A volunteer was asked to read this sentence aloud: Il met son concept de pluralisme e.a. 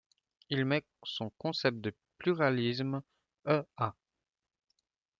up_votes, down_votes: 2, 0